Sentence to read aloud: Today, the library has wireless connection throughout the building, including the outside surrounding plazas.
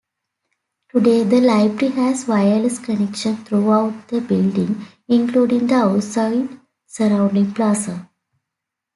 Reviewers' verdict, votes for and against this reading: accepted, 2, 1